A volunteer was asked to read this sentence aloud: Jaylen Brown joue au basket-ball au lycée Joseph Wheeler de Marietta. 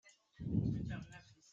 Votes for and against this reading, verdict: 0, 2, rejected